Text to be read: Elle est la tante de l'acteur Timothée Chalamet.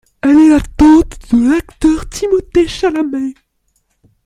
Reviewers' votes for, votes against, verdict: 2, 0, accepted